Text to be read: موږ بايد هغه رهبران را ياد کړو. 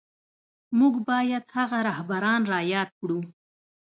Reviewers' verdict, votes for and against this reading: rejected, 1, 2